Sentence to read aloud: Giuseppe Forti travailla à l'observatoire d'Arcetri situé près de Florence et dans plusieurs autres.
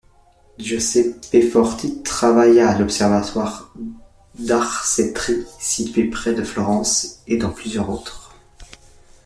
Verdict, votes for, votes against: rejected, 0, 2